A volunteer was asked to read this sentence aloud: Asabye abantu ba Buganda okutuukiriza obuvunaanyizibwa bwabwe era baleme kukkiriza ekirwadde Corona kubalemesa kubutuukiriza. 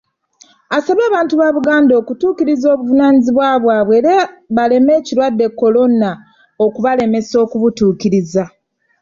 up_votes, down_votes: 1, 2